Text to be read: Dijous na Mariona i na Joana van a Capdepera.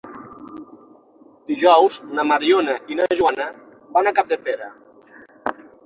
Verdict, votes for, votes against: accepted, 6, 0